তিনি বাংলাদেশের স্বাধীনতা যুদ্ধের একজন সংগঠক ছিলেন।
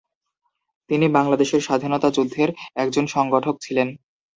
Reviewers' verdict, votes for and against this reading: rejected, 0, 2